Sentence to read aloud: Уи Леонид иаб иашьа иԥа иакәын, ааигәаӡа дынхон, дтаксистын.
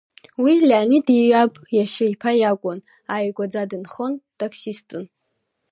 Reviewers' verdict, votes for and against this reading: accepted, 2, 0